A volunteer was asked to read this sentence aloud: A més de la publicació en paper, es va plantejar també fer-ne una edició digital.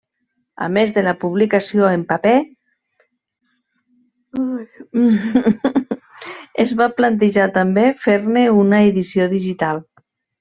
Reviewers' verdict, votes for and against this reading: rejected, 1, 2